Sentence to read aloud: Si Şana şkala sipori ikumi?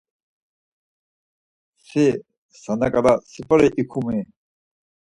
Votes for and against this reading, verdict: 2, 4, rejected